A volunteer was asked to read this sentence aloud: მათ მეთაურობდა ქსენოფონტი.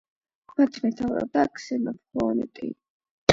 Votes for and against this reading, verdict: 8, 0, accepted